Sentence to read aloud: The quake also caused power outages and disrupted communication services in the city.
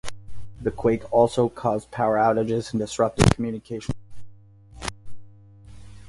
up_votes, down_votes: 2, 4